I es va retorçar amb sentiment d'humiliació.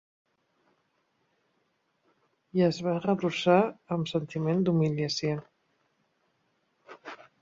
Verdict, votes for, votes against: rejected, 1, 2